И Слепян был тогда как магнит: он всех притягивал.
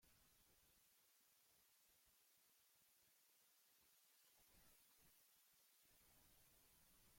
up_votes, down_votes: 0, 2